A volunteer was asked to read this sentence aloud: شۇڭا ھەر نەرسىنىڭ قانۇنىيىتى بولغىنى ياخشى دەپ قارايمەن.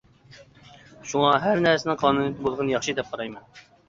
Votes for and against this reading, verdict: 2, 0, accepted